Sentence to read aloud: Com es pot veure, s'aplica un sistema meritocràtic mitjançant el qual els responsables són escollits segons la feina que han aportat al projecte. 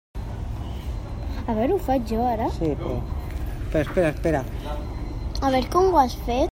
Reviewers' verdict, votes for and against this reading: rejected, 0, 2